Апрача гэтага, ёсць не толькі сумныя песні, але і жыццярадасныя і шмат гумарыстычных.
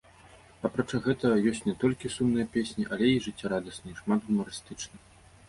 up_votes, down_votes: 0, 2